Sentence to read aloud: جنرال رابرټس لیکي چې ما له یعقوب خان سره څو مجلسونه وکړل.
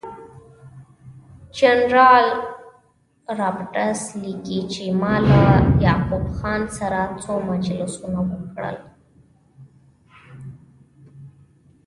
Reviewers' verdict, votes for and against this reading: rejected, 1, 2